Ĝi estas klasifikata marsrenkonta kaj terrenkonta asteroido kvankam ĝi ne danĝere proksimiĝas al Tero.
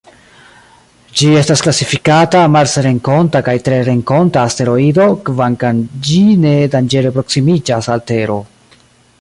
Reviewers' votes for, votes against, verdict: 2, 0, accepted